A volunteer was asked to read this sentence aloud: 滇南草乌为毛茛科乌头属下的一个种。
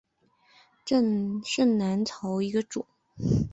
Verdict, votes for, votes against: rejected, 0, 2